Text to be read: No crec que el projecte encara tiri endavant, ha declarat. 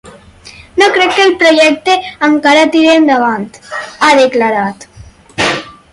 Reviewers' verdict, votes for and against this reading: rejected, 0, 6